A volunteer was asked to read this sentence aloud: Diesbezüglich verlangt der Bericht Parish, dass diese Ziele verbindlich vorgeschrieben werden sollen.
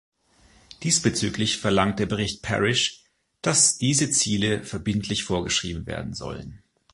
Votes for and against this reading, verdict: 2, 0, accepted